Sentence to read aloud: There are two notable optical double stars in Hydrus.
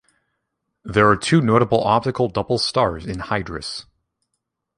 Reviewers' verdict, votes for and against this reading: accepted, 2, 0